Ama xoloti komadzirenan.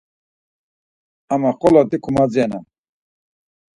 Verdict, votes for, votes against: accepted, 4, 0